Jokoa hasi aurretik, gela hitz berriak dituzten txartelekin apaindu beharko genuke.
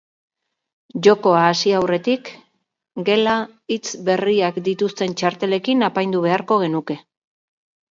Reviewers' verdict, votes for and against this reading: accepted, 2, 0